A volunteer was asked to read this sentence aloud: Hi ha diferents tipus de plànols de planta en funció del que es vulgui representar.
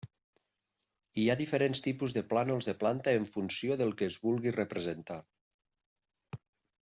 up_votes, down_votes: 0, 2